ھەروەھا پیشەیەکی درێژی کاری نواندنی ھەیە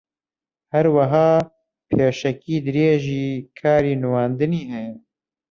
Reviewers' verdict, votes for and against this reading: rejected, 0, 2